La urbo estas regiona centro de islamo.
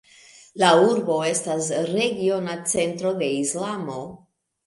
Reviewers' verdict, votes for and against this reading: rejected, 1, 2